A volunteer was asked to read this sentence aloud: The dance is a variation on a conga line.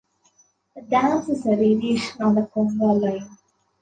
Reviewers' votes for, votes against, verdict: 2, 0, accepted